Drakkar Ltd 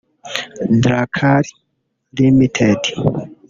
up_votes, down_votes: 0, 2